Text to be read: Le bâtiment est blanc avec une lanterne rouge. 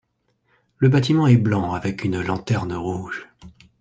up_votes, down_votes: 2, 0